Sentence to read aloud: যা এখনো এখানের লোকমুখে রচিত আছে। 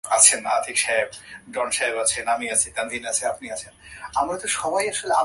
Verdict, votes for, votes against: rejected, 0, 2